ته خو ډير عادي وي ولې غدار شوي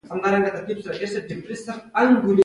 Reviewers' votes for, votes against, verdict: 2, 0, accepted